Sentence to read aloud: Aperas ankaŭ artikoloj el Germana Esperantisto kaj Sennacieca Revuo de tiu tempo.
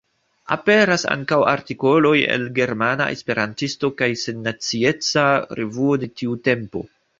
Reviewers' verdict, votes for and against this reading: rejected, 1, 2